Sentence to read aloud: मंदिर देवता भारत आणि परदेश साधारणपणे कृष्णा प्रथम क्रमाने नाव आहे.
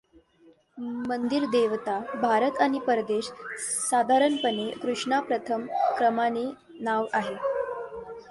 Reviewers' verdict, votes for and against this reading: rejected, 1, 2